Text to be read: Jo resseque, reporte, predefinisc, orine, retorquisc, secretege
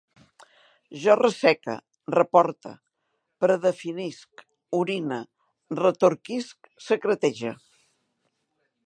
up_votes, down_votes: 2, 0